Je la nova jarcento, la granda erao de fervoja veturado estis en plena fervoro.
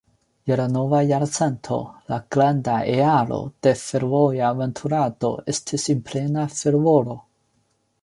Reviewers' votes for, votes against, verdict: 0, 2, rejected